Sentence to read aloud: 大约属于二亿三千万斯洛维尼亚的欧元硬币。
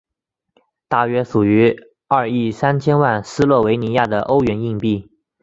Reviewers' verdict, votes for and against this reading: accepted, 2, 1